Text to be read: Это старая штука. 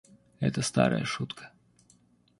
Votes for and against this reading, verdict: 1, 2, rejected